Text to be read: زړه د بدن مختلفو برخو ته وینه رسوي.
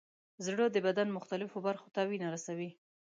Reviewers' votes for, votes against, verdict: 2, 0, accepted